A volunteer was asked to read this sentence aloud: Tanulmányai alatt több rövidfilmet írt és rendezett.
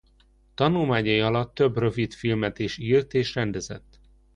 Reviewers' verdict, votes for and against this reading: rejected, 0, 2